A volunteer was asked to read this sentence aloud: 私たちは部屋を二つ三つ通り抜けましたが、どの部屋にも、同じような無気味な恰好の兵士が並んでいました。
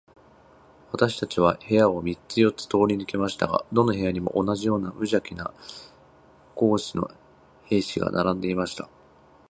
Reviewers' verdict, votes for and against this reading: rejected, 0, 5